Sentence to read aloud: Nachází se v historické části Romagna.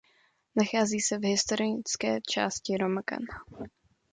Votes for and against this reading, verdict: 0, 2, rejected